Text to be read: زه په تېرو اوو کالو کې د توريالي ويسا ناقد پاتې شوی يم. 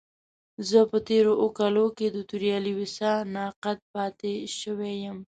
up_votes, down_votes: 1, 2